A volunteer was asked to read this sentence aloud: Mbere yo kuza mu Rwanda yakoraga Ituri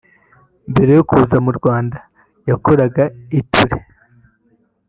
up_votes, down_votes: 1, 2